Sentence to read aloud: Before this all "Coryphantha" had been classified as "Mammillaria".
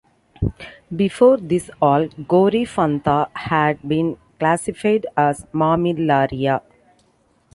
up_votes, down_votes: 2, 0